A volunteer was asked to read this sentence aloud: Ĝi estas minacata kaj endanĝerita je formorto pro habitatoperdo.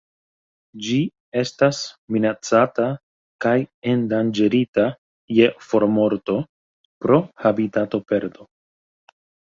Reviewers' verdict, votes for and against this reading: accepted, 2, 0